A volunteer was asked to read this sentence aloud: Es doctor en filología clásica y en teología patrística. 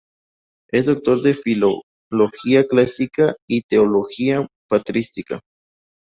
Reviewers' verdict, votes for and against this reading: rejected, 0, 2